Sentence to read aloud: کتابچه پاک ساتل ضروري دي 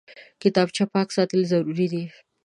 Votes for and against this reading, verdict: 2, 0, accepted